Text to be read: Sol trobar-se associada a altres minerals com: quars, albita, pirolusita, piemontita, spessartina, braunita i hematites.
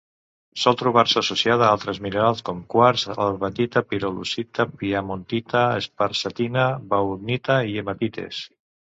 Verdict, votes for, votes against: rejected, 1, 2